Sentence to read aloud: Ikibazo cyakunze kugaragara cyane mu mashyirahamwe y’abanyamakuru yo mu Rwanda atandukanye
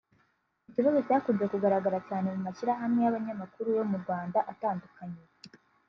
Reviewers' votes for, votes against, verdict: 2, 0, accepted